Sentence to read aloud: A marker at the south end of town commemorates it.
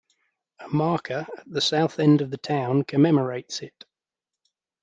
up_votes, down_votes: 1, 2